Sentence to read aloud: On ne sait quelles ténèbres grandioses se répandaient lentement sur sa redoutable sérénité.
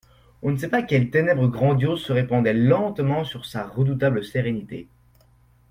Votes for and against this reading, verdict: 0, 2, rejected